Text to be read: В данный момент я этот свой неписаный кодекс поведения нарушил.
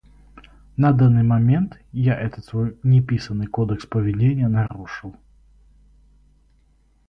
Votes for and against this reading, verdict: 2, 4, rejected